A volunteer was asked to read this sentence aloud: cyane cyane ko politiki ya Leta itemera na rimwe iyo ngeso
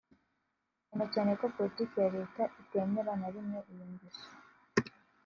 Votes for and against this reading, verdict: 2, 0, accepted